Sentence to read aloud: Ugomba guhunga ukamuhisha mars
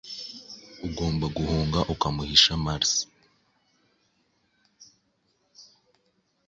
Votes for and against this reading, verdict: 2, 0, accepted